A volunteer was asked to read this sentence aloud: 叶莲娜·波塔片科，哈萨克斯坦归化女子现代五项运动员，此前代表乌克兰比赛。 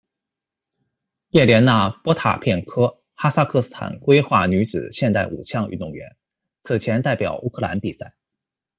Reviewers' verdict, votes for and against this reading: accepted, 2, 0